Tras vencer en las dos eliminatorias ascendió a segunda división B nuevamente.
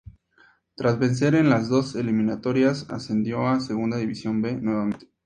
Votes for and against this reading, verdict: 2, 0, accepted